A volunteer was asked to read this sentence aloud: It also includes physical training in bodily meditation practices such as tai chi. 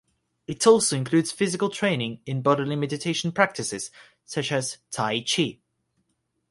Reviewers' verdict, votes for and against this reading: accepted, 6, 3